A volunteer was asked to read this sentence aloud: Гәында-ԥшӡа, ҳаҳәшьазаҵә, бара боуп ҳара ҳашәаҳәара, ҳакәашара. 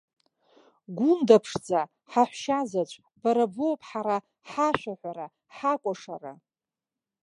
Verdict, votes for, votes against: rejected, 1, 2